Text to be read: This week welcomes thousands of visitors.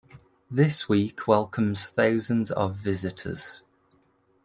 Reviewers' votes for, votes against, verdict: 2, 0, accepted